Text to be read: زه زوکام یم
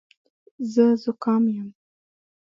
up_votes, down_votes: 1, 2